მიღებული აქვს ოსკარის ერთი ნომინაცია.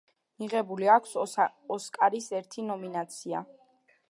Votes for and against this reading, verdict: 1, 2, rejected